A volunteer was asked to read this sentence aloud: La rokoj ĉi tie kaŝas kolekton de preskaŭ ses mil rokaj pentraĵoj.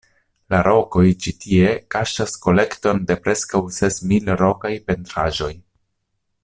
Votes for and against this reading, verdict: 2, 0, accepted